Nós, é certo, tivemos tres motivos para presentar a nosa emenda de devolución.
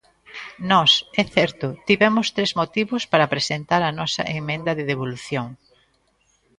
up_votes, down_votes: 2, 0